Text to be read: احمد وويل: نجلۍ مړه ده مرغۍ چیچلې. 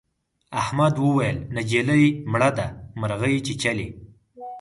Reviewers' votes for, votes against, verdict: 4, 0, accepted